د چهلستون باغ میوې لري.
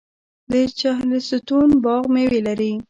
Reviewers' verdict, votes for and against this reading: accepted, 2, 0